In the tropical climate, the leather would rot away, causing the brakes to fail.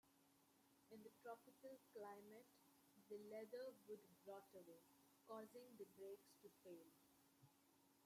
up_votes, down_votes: 0, 2